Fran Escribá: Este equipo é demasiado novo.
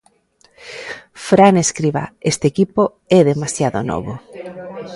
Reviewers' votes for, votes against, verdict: 2, 0, accepted